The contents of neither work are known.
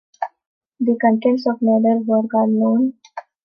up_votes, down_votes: 2, 0